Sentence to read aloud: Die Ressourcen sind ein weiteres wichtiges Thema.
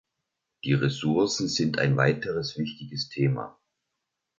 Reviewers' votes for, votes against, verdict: 2, 0, accepted